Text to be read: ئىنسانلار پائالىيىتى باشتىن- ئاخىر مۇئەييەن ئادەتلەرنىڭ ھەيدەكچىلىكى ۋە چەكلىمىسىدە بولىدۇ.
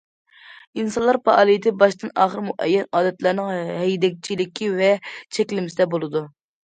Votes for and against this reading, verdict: 2, 0, accepted